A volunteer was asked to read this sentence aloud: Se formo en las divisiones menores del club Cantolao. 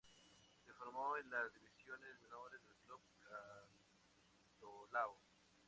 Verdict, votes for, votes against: accepted, 2, 0